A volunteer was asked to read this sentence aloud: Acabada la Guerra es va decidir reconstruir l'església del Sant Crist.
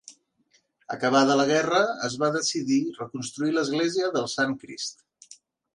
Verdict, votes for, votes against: accepted, 2, 0